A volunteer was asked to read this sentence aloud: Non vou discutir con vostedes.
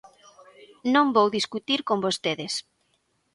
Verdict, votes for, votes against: accepted, 2, 1